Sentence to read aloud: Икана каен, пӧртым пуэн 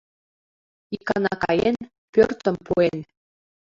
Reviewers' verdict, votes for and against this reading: rejected, 0, 2